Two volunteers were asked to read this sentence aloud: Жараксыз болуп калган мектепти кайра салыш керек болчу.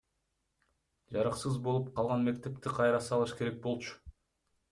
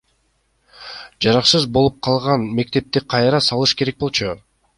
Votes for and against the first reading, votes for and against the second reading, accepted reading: 2, 0, 1, 2, first